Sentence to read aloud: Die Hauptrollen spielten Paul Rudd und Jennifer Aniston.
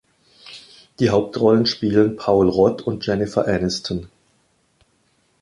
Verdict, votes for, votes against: rejected, 1, 2